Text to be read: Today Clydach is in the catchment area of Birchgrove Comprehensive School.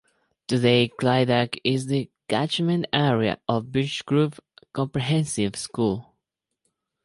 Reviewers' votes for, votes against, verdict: 0, 2, rejected